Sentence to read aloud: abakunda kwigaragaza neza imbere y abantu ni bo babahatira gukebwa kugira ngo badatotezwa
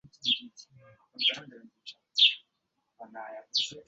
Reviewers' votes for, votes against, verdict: 0, 2, rejected